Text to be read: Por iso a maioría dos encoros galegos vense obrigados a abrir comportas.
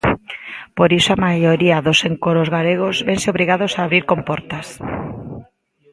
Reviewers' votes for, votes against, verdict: 2, 0, accepted